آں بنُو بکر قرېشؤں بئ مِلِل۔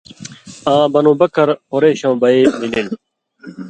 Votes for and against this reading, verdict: 2, 0, accepted